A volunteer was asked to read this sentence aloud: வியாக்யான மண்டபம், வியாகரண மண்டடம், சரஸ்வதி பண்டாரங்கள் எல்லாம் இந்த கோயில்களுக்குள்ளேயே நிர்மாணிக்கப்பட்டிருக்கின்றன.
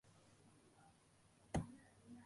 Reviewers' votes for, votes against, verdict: 0, 2, rejected